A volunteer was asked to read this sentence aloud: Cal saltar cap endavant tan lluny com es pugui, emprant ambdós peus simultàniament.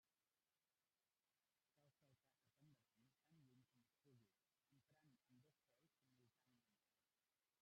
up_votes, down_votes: 0, 2